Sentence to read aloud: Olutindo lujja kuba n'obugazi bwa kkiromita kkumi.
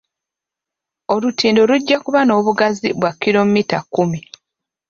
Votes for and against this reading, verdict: 2, 0, accepted